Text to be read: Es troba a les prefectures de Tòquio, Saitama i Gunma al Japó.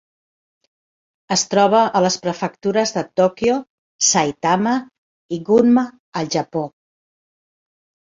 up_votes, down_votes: 2, 0